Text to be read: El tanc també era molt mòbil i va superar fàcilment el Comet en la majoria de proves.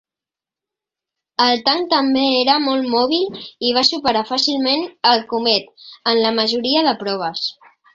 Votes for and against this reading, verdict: 4, 0, accepted